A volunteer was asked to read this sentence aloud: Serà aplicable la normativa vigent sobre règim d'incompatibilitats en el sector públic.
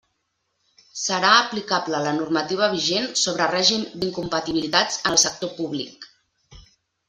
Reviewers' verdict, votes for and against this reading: rejected, 1, 2